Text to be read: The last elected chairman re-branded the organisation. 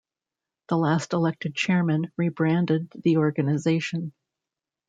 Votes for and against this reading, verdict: 2, 0, accepted